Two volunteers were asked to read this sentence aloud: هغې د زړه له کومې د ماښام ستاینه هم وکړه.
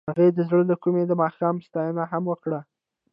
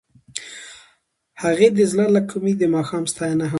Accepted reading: second